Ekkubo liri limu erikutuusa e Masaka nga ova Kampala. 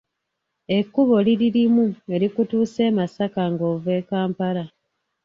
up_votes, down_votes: 2, 3